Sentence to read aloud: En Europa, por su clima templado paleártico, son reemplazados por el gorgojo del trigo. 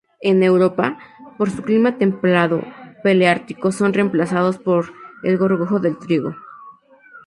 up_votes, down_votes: 0, 2